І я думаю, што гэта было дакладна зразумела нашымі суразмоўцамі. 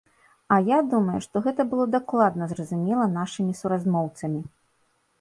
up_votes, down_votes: 2, 0